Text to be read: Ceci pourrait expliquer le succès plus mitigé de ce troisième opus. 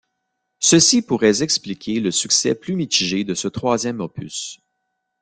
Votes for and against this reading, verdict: 0, 2, rejected